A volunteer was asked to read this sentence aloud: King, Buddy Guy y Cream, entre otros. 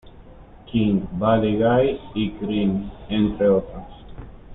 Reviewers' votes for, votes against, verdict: 0, 2, rejected